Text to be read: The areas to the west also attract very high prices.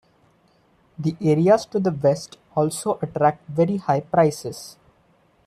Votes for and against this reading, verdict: 2, 0, accepted